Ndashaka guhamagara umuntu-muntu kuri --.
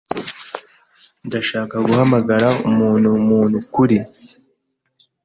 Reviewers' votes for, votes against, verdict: 2, 0, accepted